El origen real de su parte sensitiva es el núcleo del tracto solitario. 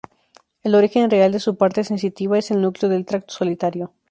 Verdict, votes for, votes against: accepted, 4, 0